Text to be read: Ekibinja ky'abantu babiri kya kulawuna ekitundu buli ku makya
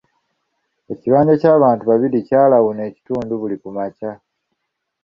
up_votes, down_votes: 0, 2